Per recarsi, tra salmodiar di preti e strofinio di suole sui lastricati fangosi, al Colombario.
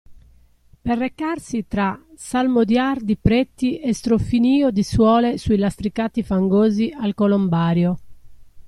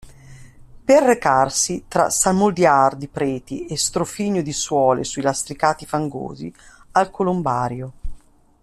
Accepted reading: first